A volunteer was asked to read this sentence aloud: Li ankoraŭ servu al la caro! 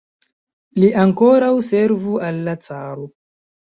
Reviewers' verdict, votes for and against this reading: rejected, 1, 2